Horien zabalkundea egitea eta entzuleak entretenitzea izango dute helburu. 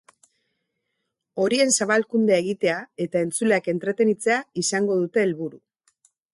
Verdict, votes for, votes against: accepted, 4, 0